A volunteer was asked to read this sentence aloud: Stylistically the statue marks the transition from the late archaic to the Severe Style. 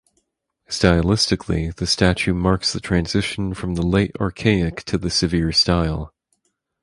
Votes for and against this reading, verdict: 4, 0, accepted